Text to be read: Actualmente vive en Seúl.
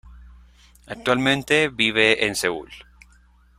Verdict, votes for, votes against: accepted, 2, 0